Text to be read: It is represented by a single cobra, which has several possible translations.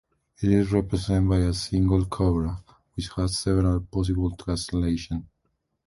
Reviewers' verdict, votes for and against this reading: rejected, 0, 2